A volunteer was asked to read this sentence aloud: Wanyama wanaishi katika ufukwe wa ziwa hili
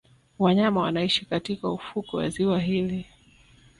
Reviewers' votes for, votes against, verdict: 2, 0, accepted